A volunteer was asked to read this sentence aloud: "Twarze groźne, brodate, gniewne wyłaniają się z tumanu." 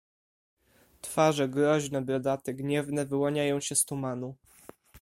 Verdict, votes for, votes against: accepted, 2, 0